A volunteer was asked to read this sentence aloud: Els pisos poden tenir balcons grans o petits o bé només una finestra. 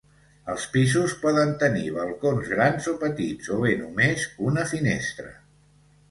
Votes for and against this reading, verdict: 2, 0, accepted